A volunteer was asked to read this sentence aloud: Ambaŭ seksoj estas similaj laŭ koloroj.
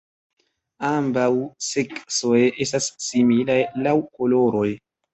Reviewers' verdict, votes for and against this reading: accepted, 2, 0